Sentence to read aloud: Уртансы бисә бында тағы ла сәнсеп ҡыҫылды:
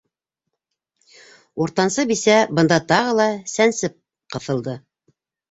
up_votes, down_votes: 2, 0